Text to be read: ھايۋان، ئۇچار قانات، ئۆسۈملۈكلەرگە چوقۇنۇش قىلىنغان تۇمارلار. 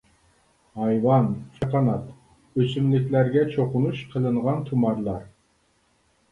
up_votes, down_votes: 1, 2